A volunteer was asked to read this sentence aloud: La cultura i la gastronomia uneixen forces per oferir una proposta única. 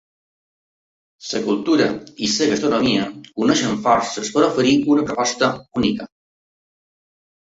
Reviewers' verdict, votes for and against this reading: rejected, 1, 2